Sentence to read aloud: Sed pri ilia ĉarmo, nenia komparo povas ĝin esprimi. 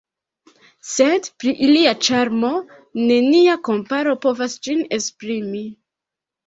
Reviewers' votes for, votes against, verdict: 1, 2, rejected